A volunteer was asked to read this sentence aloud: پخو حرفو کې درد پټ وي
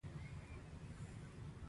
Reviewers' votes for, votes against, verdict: 2, 1, accepted